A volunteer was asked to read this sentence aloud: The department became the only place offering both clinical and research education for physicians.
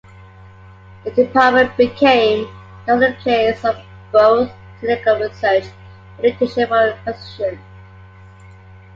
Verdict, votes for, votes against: rejected, 0, 3